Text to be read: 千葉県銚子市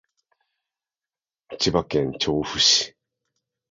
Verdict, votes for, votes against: accepted, 2, 0